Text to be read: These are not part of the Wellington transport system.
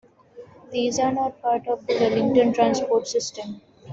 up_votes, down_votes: 2, 0